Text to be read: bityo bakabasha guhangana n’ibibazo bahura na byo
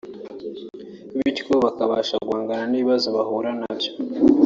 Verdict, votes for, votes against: accepted, 2, 0